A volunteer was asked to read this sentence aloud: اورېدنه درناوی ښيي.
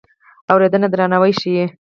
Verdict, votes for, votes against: accepted, 6, 0